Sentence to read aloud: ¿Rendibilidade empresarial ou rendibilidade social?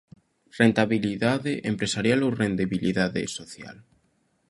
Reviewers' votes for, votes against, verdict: 0, 2, rejected